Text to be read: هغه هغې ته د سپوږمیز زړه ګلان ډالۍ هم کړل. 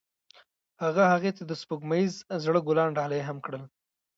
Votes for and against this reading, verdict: 0, 2, rejected